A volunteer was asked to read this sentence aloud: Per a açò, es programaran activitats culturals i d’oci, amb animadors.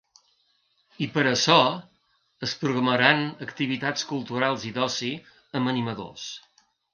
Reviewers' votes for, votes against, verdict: 2, 3, rejected